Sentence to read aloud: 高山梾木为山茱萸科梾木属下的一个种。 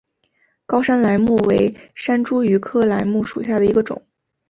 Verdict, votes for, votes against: accepted, 4, 0